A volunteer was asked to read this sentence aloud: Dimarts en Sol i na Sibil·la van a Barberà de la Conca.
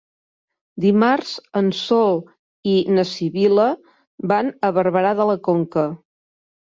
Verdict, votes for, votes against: accepted, 3, 0